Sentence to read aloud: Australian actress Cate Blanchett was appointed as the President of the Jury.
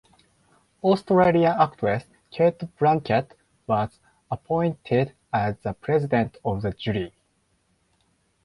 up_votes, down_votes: 4, 0